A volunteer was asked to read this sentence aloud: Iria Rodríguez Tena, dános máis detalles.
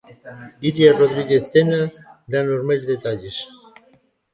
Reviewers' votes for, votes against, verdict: 1, 2, rejected